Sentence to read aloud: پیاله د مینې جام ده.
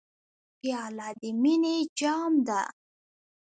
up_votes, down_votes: 0, 2